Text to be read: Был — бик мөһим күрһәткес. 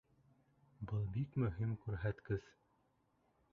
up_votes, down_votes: 0, 2